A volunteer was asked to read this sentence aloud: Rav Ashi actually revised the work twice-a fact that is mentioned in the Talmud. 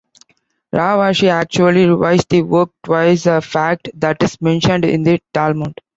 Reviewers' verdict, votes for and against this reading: accepted, 2, 0